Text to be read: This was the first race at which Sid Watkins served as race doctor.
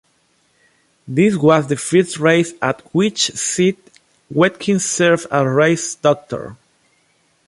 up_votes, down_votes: 1, 2